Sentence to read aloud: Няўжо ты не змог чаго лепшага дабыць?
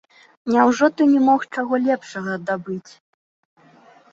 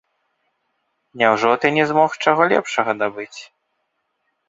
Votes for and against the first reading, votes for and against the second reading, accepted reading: 1, 2, 3, 0, second